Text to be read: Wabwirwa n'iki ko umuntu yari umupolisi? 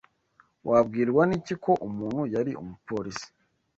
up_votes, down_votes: 2, 0